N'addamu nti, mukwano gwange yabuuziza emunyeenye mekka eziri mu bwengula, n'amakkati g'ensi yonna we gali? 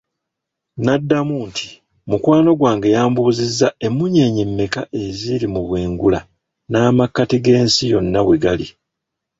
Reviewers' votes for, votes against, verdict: 1, 2, rejected